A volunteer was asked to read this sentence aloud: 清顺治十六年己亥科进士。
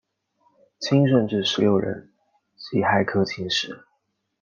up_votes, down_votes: 2, 0